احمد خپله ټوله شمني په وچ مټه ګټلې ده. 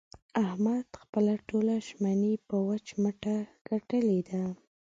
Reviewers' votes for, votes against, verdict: 0, 2, rejected